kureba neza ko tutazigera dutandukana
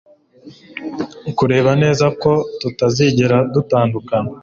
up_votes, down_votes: 2, 0